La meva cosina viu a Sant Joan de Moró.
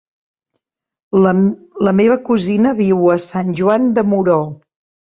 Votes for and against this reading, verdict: 1, 2, rejected